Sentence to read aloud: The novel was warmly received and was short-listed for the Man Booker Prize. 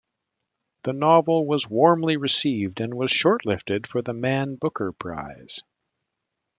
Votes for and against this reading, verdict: 1, 2, rejected